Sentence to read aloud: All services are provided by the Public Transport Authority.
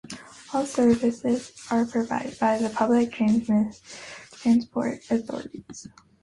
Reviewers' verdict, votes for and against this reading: rejected, 0, 2